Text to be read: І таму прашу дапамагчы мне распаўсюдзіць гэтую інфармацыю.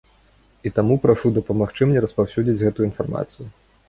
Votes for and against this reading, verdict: 2, 0, accepted